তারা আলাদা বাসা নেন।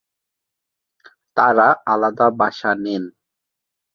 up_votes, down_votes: 0, 2